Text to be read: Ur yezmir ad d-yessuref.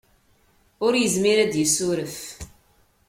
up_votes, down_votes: 2, 0